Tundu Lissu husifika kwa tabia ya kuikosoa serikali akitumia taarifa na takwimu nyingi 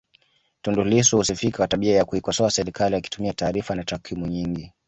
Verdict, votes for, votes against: accepted, 5, 0